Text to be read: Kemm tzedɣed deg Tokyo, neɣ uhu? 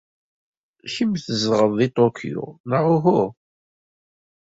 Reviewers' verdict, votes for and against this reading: accepted, 2, 1